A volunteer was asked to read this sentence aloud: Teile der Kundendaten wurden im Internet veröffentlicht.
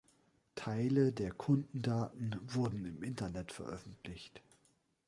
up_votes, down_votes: 2, 0